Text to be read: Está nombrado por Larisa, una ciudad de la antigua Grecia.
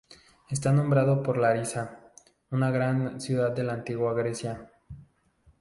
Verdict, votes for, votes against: accepted, 4, 0